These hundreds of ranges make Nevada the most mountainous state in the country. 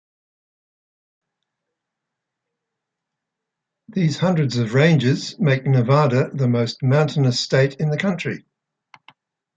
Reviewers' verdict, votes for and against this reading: rejected, 1, 2